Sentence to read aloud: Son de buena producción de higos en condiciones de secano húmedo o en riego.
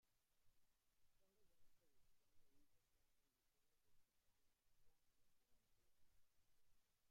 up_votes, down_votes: 0, 2